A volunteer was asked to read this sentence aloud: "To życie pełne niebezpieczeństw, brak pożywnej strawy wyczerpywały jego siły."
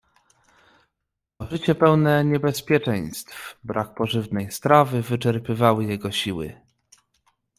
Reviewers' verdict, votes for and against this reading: rejected, 0, 2